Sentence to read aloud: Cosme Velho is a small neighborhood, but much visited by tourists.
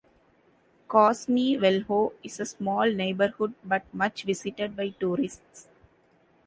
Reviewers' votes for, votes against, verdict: 2, 0, accepted